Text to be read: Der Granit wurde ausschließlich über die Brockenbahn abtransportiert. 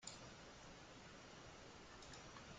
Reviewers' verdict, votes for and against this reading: rejected, 0, 3